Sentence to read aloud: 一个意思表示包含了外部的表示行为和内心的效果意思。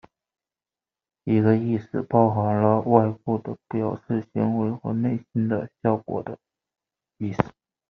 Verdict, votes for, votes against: rejected, 0, 2